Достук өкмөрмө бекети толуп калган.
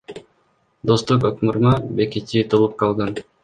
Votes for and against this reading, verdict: 1, 2, rejected